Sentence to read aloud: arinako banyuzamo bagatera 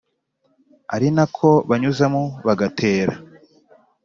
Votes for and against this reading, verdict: 2, 0, accepted